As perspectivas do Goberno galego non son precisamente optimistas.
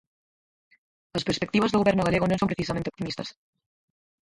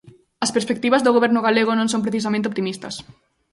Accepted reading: second